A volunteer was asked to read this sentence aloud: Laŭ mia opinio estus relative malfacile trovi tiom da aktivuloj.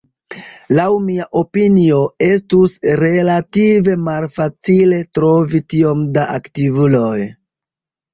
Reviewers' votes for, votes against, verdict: 1, 2, rejected